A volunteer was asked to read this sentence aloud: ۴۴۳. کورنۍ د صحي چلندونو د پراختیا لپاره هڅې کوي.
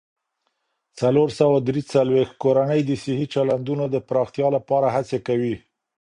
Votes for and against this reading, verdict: 0, 2, rejected